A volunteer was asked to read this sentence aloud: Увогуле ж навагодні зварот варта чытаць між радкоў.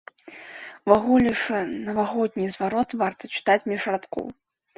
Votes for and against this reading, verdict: 1, 2, rejected